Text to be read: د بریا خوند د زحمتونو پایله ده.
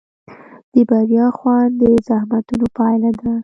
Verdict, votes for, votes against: accepted, 2, 0